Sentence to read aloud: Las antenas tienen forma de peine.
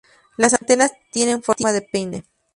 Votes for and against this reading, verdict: 0, 2, rejected